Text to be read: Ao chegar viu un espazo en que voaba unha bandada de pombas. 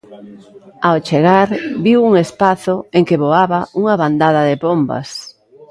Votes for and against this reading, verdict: 1, 2, rejected